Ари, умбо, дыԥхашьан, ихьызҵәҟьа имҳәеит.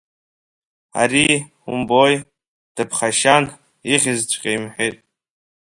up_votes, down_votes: 1, 2